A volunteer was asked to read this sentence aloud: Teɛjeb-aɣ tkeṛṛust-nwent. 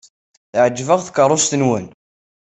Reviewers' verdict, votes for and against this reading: accepted, 2, 0